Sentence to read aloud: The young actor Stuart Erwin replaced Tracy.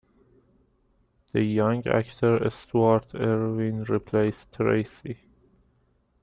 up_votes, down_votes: 2, 0